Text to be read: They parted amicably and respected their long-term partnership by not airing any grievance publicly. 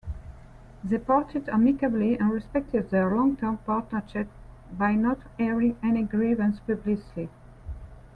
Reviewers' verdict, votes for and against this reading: accepted, 2, 1